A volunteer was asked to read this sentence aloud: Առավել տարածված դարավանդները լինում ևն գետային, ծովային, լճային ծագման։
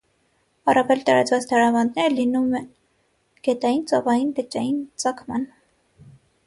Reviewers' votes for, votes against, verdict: 3, 6, rejected